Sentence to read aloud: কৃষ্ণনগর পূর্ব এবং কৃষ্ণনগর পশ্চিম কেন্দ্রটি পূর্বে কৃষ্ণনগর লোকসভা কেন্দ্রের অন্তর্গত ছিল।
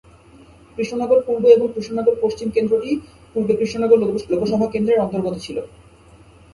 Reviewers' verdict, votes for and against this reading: rejected, 0, 2